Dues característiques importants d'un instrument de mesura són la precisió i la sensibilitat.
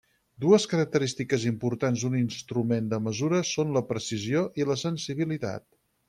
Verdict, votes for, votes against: accepted, 6, 2